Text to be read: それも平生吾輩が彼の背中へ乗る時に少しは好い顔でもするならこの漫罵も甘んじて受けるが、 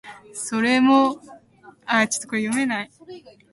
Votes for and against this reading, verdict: 0, 2, rejected